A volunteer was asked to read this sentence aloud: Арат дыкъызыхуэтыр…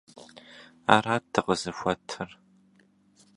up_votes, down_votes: 2, 0